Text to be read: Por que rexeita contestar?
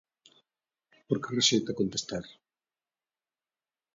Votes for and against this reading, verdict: 2, 1, accepted